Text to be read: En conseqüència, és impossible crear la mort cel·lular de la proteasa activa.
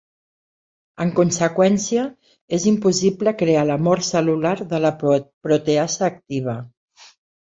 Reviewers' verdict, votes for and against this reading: rejected, 1, 2